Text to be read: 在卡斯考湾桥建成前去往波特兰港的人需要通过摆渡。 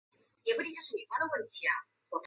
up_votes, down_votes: 0, 3